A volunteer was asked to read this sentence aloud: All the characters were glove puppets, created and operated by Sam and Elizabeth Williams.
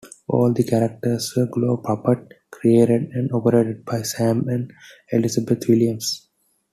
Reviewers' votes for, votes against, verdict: 1, 2, rejected